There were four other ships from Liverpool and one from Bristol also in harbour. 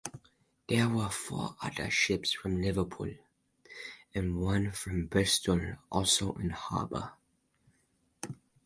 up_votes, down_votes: 4, 0